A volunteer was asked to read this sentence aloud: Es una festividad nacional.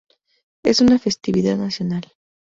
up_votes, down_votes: 2, 0